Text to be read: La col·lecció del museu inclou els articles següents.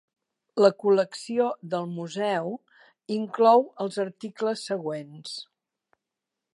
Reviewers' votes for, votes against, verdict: 4, 0, accepted